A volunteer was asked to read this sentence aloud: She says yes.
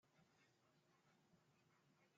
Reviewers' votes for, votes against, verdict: 0, 2, rejected